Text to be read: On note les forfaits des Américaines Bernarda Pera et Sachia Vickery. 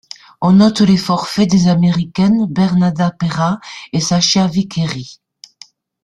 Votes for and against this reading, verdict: 1, 2, rejected